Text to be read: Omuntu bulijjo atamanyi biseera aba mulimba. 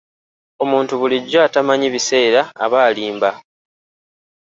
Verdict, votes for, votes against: rejected, 0, 2